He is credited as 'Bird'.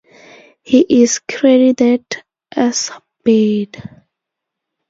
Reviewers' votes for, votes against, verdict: 4, 2, accepted